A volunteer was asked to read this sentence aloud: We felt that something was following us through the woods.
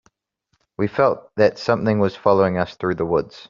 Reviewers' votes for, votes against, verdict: 2, 0, accepted